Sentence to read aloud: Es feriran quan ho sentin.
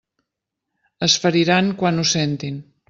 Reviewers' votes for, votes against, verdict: 3, 0, accepted